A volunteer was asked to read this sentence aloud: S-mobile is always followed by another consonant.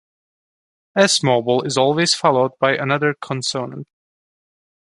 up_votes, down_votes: 0, 2